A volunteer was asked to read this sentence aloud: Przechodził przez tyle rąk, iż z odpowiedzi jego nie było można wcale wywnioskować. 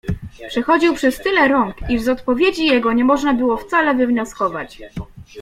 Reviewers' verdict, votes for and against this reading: accepted, 2, 0